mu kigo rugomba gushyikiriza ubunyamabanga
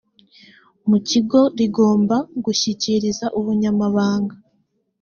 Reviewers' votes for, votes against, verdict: 1, 2, rejected